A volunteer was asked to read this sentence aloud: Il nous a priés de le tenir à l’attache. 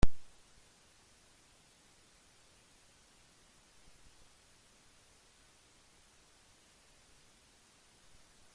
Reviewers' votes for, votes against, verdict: 0, 2, rejected